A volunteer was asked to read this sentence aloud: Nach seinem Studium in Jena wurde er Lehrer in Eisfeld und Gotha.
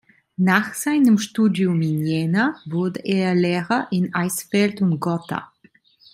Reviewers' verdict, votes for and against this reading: accepted, 2, 0